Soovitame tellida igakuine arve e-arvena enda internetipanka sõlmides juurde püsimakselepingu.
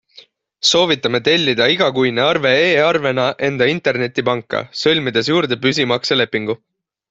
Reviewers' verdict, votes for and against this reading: accepted, 3, 0